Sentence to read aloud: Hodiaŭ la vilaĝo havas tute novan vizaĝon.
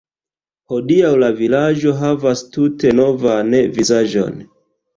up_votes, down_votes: 2, 1